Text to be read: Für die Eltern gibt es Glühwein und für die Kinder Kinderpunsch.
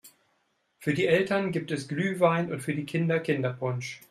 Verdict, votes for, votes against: accepted, 2, 0